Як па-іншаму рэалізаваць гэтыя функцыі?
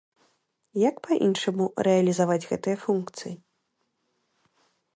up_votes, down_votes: 2, 0